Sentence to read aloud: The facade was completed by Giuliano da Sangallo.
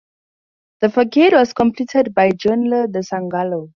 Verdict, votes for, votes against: accepted, 2, 0